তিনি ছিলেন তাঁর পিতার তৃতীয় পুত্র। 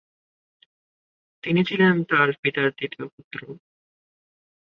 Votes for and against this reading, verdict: 2, 1, accepted